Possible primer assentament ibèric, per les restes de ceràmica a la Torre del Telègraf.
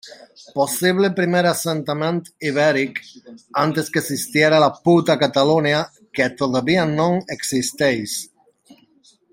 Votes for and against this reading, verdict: 0, 2, rejected